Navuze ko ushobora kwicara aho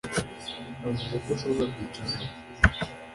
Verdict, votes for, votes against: rejected, 0, 2